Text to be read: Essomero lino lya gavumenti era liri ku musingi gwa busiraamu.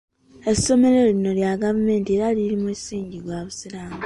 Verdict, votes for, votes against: accepted, 2, 1